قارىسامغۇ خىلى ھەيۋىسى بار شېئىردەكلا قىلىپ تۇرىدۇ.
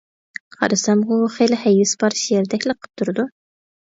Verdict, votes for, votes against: rejected, 0, 2